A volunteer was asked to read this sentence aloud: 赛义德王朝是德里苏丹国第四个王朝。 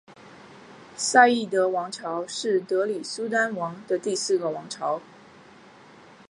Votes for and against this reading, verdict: 2, 0, accepted